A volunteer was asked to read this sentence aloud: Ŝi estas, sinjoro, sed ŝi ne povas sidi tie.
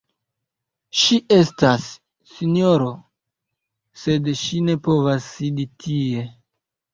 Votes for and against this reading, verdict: 2, 0, accepted